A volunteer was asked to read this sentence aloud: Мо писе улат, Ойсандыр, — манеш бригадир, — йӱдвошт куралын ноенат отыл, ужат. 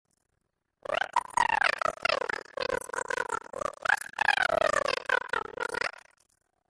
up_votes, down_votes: 0, 2